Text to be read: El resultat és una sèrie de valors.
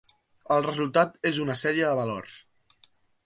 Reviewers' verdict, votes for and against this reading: accepted, 3, 0